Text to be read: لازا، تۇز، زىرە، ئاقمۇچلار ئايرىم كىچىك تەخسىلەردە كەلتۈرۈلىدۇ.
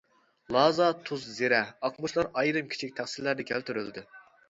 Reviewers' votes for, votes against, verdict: 1, 2, rejected